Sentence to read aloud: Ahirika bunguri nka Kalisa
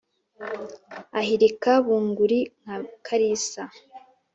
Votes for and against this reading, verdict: 2, 0, accepted